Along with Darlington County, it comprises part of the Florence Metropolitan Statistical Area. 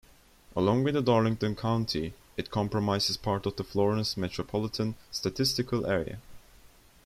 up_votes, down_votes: 0, 2